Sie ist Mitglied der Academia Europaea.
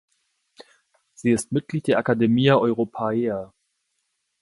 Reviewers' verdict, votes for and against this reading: accepted, 2, 0